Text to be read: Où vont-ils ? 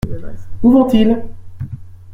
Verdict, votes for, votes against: accepted, 2, 0